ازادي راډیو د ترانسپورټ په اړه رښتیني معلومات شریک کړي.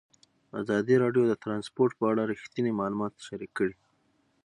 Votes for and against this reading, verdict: 3, 3, rejected